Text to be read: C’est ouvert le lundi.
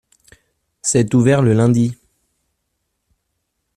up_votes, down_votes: 2, 0